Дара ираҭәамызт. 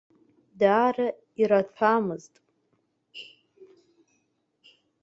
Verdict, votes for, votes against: rejected, 0, 2